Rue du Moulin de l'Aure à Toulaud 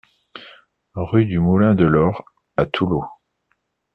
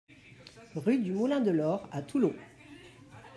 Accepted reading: first